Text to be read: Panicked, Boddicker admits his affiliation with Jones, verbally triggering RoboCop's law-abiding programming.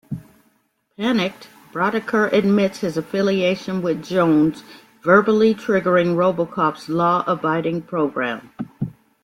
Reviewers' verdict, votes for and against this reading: rejected, 1, 2